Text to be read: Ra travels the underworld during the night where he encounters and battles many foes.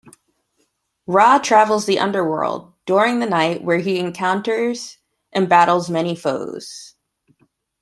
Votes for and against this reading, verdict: 2, 0, accepted